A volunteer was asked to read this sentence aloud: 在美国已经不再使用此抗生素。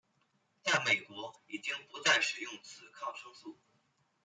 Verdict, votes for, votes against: accepted, 2, 0